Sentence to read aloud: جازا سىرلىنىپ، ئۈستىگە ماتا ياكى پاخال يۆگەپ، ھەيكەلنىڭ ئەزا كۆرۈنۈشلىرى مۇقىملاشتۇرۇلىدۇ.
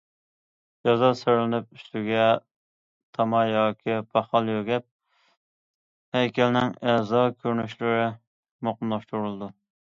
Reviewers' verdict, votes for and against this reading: rejected, 0, 2